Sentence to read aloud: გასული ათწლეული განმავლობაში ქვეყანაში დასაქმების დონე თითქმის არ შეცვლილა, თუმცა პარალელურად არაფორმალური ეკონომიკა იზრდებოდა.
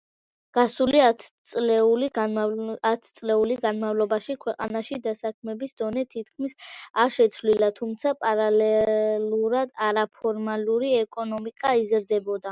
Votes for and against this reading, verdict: 0, 2, rejected